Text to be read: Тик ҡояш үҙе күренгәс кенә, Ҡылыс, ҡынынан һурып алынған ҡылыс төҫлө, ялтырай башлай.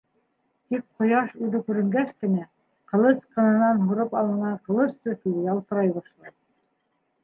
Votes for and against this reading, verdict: 1, 2, rejected